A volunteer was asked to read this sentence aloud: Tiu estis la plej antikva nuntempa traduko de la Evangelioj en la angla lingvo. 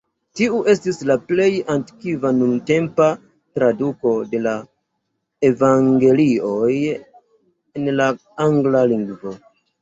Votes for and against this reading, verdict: 2, 1, accepted